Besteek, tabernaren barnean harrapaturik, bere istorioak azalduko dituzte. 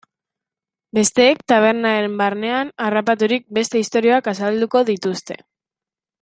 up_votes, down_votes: 0, 2